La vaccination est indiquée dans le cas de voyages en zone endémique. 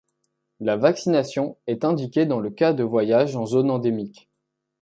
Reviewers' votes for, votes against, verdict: 2, 0, accepted